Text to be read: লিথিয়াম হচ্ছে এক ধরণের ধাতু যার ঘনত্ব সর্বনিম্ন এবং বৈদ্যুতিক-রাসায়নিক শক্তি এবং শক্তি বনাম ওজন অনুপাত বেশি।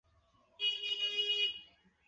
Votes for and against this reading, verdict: 1, 4, rejected